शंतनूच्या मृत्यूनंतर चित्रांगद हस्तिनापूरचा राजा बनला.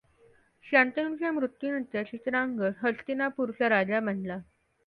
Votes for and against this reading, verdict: 2, 0, accepted